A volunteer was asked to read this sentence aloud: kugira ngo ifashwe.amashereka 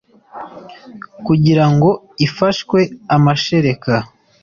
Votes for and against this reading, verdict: 2, 0, accepted